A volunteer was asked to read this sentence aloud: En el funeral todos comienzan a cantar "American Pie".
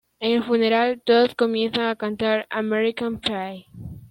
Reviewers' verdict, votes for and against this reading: rejected, 0, 2